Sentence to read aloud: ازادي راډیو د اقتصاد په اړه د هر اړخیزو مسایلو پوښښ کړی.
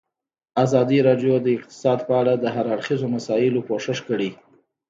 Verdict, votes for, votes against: rejected, 1, 2